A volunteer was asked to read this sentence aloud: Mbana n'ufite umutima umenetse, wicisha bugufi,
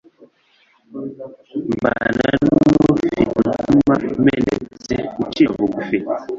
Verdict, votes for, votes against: rejected, 1, 2